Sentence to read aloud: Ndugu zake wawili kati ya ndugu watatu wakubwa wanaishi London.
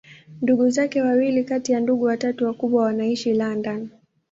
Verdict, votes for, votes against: accepted, 2, 0